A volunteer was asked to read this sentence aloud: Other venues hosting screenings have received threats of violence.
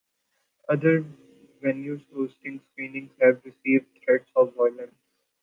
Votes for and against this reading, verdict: 1, 2, rejected